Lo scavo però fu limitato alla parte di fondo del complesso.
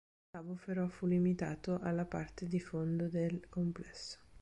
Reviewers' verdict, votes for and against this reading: accepted, 2, 1